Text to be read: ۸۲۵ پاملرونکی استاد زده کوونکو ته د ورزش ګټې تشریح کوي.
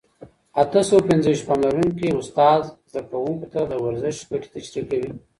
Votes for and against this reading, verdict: 0, 2, rejected